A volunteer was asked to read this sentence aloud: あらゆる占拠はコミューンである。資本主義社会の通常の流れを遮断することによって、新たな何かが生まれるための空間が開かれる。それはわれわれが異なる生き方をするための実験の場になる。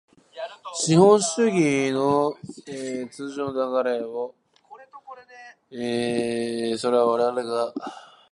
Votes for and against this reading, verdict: 0, 2, rejected